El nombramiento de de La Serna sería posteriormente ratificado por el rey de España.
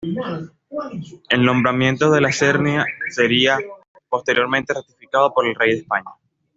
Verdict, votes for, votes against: rejected, 1, 2